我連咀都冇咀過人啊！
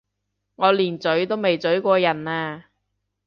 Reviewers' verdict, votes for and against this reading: rejected, 1, 2